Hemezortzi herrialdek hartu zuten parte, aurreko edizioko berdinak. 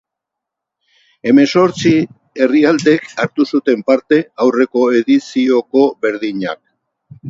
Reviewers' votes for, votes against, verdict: 2, 0, accepted